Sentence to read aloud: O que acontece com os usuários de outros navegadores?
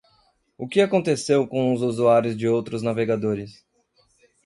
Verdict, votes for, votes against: rejected, 0, 2